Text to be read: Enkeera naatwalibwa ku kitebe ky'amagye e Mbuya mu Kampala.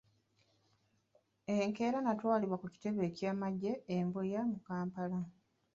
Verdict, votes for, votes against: rejected, 1, 2